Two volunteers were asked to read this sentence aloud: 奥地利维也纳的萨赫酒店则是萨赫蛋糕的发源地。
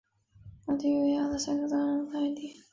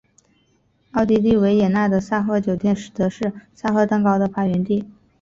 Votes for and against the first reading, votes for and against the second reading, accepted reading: 3, 4, 2, 0, second